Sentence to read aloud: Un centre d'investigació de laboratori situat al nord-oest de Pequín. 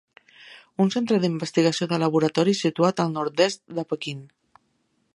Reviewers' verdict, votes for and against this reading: rejected, 1, 2